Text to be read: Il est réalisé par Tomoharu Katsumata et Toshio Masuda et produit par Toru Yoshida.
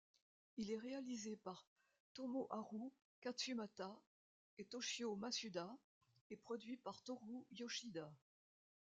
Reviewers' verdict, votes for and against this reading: rejected, 1, 2